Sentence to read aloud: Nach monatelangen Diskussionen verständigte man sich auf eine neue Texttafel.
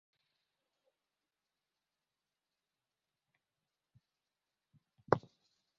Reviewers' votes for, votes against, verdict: 0, 2, rejected